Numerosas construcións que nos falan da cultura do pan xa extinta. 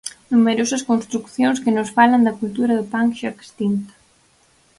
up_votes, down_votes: 0, 4